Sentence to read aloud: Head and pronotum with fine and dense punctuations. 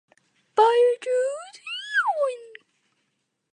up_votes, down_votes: 0, 2